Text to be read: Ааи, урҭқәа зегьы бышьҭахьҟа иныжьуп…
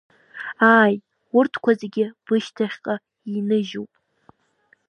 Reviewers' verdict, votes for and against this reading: accepted, 2, 0